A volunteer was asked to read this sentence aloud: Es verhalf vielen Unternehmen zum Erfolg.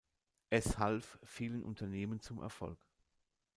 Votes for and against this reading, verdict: 0, 2, rejected